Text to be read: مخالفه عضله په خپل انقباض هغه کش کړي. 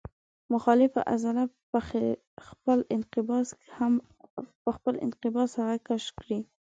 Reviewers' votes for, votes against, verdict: 1, 2, rejected